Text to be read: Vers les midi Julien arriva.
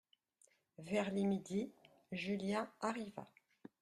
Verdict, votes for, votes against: accepted, 2, 0